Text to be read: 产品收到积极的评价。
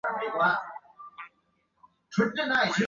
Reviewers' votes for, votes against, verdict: 1, 5, rejected